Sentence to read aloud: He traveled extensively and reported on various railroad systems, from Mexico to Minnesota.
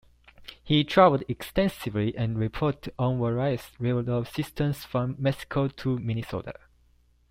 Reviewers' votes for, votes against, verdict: 1, 2, rejected